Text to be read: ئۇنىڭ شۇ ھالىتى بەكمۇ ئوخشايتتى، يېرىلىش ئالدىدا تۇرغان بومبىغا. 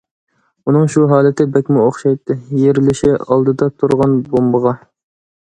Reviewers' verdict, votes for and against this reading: rejected, 1, 2